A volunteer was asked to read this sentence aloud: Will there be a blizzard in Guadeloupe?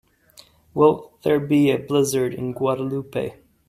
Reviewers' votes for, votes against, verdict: 2, 0, accepted